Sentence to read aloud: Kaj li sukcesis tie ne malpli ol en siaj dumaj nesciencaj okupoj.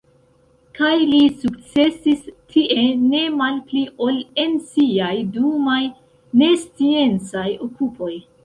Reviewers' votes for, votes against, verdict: 2, 1, accepted